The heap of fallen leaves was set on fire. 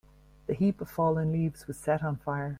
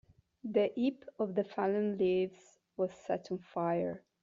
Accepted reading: first